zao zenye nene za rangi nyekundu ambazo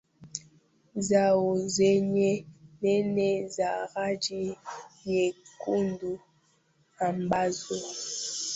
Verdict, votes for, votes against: rejected, 1, 2